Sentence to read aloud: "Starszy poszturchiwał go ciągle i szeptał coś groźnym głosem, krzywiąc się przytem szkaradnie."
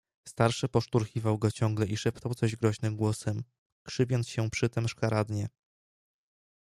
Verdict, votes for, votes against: accepted, 2, 0